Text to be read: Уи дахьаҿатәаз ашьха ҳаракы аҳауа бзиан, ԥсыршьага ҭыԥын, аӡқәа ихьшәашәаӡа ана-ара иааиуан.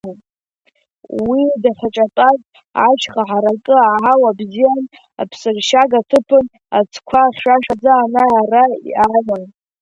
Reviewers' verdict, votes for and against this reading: rejected, 1, 2